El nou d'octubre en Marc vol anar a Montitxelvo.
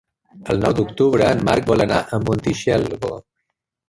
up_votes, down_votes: 2, 1